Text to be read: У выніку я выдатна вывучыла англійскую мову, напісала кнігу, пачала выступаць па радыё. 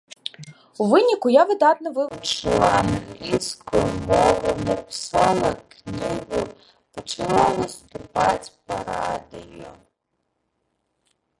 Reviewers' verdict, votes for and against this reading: rejected, 0, 2